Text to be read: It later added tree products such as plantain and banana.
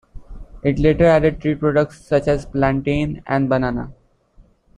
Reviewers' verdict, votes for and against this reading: accepted, 2, 0